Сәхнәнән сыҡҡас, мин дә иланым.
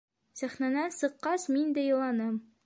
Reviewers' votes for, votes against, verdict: 2, 0, accepted